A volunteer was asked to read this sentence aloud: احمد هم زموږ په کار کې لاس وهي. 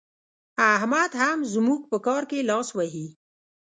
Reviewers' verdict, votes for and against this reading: rejected, 1, 2